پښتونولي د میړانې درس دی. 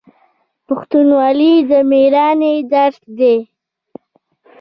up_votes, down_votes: 0, 2